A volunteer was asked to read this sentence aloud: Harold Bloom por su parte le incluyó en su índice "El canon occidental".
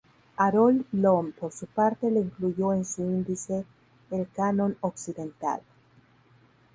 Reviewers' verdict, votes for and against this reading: rejected, 2, 2